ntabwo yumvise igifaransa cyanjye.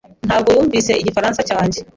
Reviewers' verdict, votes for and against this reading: accepted, 2, 0